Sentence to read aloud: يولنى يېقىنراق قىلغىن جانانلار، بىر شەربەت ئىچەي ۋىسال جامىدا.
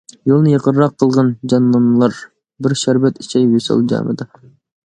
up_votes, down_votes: 0, 2